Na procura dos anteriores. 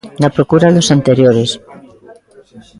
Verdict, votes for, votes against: accepted, 2, 0